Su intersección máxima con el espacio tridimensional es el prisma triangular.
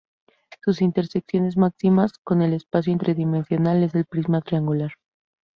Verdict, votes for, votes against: accepted, 2, 0